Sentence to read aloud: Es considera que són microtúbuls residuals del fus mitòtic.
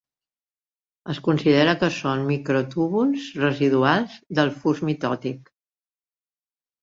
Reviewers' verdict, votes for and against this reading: accepted, 3, 0